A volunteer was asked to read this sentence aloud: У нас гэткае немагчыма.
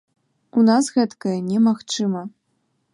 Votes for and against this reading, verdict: 2, 0, accepted